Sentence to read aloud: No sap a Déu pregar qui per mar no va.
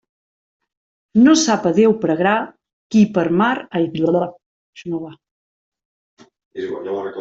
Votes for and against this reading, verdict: 0, 2, rejected